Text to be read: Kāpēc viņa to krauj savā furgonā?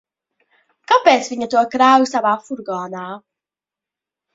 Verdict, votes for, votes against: rejected, 1, 2